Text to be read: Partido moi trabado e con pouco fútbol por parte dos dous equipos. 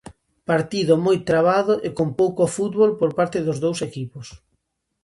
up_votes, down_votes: 2, 0